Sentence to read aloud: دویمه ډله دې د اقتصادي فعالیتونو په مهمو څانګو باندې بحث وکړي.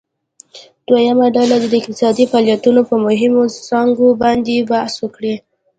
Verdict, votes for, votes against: rejected, 0, 2